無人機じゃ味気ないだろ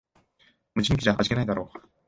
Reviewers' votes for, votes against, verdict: 1, 2, rejected